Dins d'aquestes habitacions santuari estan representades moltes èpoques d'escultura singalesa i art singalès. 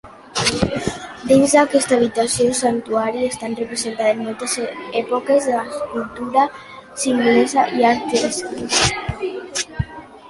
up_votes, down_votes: 0, 2